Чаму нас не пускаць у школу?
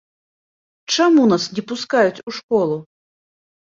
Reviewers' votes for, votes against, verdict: 1, 2, rejected